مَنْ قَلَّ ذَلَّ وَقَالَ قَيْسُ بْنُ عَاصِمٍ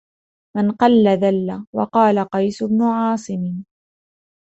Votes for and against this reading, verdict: 2, 0, accepted